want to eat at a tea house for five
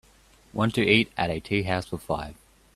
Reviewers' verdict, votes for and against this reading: accepted, 2, 0